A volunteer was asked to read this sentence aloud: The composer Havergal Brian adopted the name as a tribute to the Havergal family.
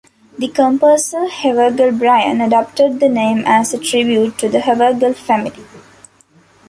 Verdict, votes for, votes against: rejected, 0, 2